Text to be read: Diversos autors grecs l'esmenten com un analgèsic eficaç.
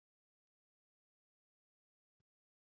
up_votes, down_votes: 0, 2